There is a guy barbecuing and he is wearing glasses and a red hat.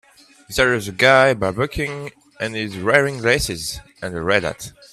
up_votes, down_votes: 0, 2